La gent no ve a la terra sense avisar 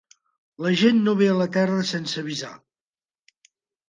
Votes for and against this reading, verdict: 3, 1, accepted